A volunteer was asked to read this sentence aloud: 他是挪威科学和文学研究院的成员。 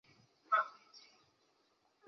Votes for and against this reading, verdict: 0, 2, rejected